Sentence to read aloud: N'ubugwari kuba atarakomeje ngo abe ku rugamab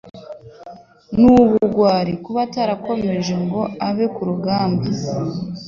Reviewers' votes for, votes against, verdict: 2, 1, accepted